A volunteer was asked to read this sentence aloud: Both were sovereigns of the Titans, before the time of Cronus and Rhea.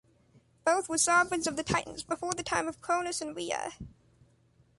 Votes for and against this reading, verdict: 2, 0, accepted